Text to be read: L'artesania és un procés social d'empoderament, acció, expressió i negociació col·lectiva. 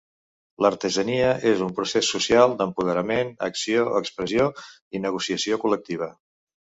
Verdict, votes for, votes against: accepted, 2, 0